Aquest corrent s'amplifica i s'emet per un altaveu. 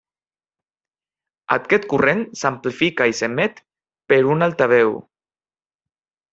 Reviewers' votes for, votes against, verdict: 3, 0, accepted